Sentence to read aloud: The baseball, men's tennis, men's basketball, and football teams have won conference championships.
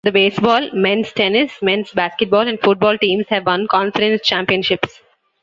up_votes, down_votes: 1, 2